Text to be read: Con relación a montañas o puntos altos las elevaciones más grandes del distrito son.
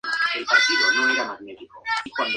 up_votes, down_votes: 0, 4